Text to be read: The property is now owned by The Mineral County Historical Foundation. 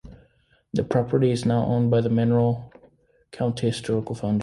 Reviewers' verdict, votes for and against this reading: rejected, 1, 2